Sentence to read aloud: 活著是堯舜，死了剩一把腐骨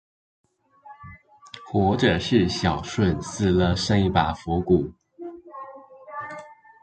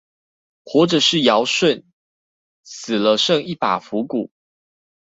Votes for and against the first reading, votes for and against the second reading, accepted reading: 1, 2, 2, 0, second